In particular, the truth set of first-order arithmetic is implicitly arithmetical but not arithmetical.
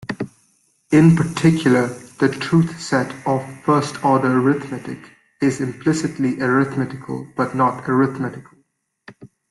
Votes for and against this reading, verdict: 2, 0, accepted